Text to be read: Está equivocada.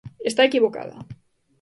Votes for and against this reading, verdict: 2, 0, accepted